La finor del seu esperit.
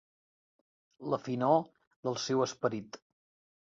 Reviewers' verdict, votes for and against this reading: accepted, 3, 0